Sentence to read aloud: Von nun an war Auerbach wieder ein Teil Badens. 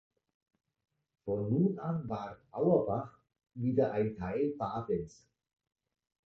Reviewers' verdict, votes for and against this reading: accepted, 2, 0